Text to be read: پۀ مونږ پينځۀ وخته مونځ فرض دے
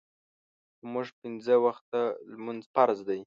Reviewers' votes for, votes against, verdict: 0, 2, rejected